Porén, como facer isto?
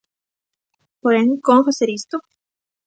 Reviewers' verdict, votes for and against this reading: accepted, 2, 0